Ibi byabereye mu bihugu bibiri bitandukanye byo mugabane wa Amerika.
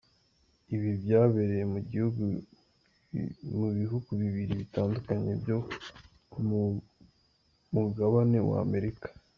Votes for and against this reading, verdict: 0, 2, rejected